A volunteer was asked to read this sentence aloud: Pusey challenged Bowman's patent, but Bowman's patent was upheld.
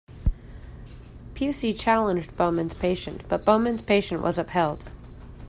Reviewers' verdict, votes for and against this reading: rejected, 1, 2